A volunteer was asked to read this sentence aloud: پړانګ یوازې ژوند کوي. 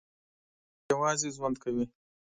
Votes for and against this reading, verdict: 0, 2, rejected